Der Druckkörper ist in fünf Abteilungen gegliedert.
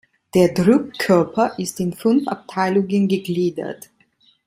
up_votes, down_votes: 0, 2